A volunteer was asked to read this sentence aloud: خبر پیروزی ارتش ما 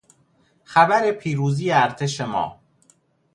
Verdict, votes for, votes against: accepted, 2, 0